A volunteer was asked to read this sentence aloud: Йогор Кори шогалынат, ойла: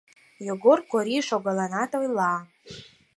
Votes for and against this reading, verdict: 4, 0, accepted